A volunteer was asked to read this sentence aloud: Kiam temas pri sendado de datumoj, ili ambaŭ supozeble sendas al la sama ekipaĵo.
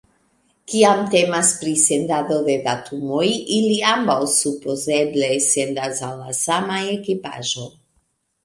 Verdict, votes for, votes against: rejected, 0, 2